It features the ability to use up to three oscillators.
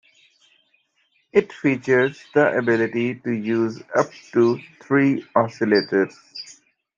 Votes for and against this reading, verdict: 1, 2, rejected